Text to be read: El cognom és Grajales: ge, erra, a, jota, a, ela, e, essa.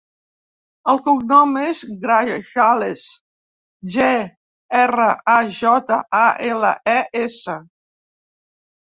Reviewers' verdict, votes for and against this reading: rejected, 1, 2